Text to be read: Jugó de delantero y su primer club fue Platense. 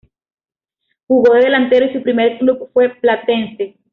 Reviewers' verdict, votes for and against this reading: accepted, 2, 1